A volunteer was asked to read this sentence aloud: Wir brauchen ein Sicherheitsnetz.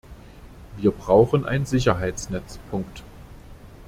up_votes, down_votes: 0, 2